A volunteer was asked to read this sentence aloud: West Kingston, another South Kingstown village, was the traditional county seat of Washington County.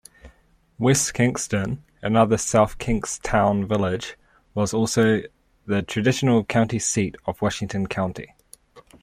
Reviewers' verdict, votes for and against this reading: rejected, 1, 2